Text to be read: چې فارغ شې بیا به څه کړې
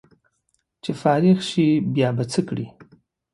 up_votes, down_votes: 2, 0